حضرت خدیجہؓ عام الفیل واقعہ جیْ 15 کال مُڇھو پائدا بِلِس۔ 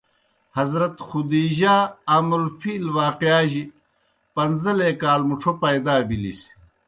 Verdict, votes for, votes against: rejected, 0, 2